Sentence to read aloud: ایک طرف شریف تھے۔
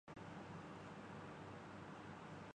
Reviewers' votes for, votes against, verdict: 0, 3, rejected